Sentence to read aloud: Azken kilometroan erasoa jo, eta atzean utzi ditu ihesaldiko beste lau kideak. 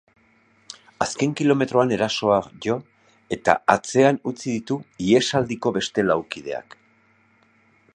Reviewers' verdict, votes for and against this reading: accepted, 2, 0